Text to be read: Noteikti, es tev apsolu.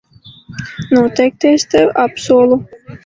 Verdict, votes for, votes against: rejected, 0, 2